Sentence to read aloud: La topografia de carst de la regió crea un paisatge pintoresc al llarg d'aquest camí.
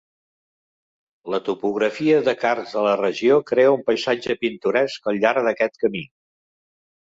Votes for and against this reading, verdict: 2, 0, accepted